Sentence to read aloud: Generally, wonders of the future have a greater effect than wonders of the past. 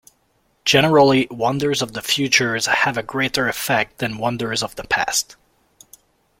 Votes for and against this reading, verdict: 1, 2, rejected